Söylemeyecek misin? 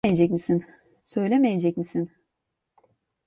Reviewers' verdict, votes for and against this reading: rejected, 0, 2